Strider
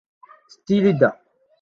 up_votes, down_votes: 1, 2